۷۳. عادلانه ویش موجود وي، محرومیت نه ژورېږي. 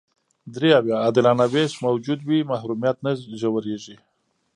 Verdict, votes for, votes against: rejected, 0, 2